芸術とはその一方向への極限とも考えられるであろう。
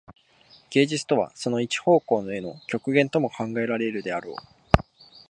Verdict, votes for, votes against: accepted, 2, 0